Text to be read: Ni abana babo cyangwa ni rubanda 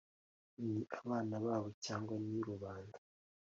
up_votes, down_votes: 2, 0